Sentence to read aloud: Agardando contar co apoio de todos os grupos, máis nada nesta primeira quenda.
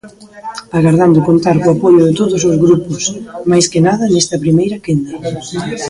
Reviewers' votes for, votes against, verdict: 0, 2, rejected